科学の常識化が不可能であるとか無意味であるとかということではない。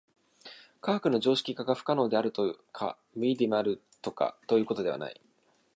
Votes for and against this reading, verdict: 1, 2, rejected